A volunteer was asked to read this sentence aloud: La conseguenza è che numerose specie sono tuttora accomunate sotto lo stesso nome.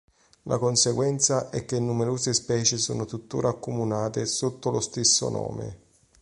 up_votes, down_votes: 2, 0